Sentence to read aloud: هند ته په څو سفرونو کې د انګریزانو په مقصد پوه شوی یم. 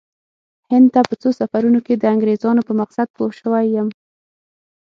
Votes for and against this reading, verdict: 6, 0, accepted